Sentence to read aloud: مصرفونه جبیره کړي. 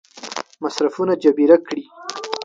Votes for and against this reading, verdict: 7, 0, accepted